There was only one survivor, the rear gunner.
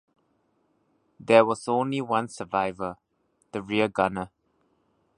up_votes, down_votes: 2, 0